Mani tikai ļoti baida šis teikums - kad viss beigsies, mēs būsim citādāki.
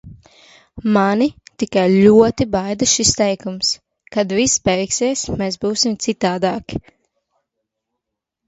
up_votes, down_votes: 2, 1